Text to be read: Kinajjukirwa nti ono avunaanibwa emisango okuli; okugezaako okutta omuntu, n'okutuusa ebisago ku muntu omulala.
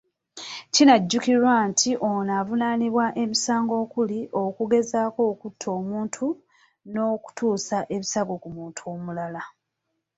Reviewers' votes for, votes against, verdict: 2, 0, accepted